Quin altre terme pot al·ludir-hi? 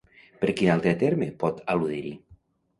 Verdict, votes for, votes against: rejected, 1, 2